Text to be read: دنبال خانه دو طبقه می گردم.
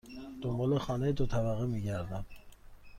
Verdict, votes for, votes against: accepted, 2, 0